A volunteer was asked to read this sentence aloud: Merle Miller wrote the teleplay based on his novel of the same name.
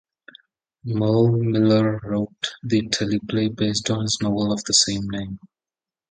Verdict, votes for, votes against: accepted, 2, 0